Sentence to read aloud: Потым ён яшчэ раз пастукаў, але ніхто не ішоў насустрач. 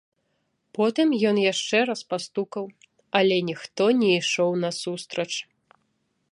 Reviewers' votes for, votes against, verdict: 1, 3, rejected